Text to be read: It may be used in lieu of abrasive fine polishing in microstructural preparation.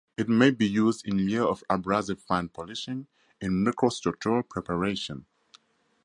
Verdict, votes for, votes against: accepted, 4, 0